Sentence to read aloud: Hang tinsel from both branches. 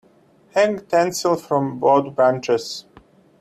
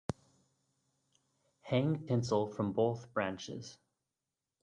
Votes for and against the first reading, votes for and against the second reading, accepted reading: 0, 2, 2, 0, second